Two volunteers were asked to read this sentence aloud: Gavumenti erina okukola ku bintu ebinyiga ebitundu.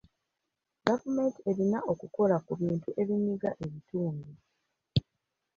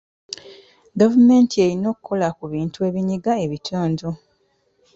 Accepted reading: second